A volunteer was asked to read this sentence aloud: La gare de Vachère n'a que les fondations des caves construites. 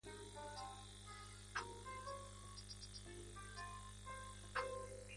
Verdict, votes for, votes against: rejected, 1, 2